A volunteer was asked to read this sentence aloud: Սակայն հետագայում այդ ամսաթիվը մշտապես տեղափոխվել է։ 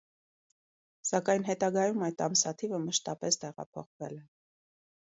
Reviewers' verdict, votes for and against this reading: rejected, 1, 2